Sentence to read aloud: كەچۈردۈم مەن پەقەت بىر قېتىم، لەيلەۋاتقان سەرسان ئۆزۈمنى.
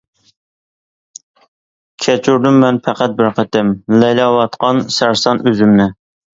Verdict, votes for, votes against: accepted, 2, 0